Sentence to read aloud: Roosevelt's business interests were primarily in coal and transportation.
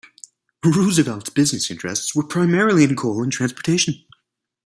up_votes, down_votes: 2, 3